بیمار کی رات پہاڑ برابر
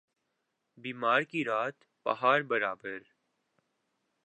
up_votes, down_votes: 1, 2